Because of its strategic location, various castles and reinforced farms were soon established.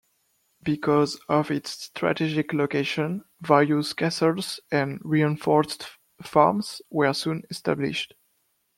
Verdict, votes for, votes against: accepted, 2, 0